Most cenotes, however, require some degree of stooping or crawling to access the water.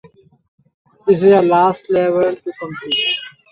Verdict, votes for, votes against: rejected, 0, 3